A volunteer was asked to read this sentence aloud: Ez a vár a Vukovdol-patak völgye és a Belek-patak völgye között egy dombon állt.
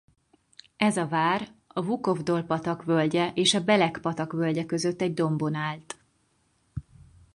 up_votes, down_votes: 4, 0